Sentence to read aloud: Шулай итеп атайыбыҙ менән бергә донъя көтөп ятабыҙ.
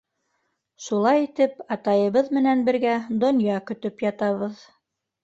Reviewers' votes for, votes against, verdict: 2, 0, accepted